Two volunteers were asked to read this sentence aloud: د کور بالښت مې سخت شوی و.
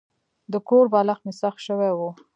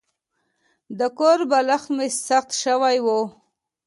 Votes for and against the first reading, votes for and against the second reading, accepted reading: 0, 2, 2, 0, second